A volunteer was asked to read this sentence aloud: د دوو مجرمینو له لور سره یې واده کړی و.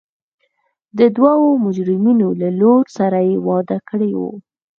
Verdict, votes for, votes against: accepted, 4, 0